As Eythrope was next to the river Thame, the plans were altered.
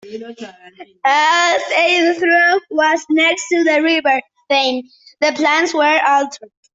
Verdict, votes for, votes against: rejected, 0, 2